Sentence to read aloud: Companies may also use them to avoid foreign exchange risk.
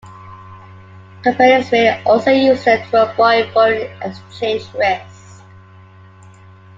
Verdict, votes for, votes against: rejected, 1, 2